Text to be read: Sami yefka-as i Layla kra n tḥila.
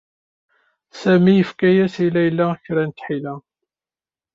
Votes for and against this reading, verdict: 2, 0, accepted